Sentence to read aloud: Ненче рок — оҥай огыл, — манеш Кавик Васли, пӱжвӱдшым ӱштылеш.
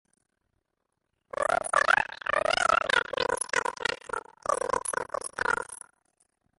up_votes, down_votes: 0, 2